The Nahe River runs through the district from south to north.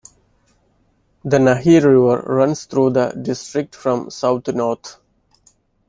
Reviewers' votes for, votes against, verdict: 1, 2, rejected